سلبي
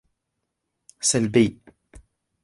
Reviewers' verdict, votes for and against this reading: rejected, 0, 2